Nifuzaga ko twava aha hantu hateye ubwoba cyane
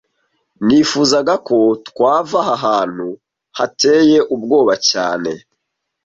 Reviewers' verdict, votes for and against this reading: accepted, 2, 0